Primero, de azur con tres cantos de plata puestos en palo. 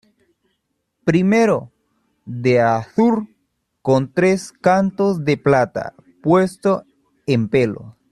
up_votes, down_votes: 0, 2